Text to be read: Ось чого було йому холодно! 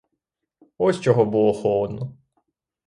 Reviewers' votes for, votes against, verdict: 3, 3, rejected